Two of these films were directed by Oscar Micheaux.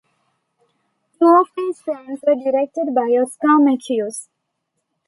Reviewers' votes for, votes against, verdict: 1, 2, rejected